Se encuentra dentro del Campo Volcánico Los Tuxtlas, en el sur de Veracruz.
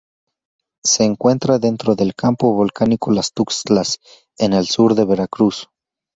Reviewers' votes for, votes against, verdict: 0, 2, rejected